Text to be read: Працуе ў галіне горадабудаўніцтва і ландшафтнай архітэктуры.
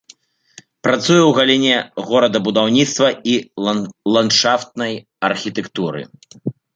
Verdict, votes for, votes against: rejected, 0, 2